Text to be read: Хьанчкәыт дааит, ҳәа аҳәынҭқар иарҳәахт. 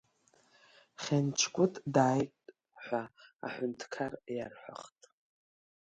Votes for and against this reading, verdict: 0, 2, rejected